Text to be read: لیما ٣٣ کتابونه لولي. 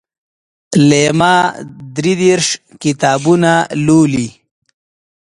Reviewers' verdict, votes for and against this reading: rejected, 0, 2